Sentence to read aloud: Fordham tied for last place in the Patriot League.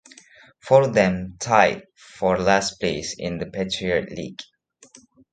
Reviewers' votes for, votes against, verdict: 0, 2, rejected